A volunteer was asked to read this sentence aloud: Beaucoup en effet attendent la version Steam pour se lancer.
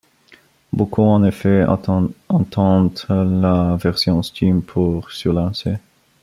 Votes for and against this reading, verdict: 0, 2, rejected